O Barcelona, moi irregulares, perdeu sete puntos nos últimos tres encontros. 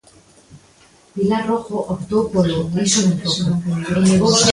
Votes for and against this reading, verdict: 0, 2, rejected